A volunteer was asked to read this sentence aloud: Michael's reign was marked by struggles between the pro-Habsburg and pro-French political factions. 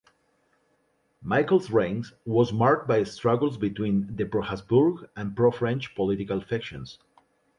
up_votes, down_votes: 1, 2